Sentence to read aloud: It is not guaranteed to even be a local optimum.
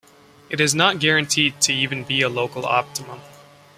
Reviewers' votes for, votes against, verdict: 2, 0, accepted